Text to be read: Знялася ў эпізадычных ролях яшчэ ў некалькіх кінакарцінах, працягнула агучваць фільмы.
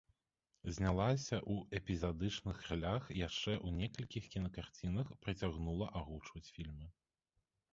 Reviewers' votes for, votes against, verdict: 1, 2, rejected